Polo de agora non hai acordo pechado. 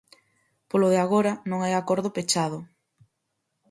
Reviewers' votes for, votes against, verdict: 4, 0, accepted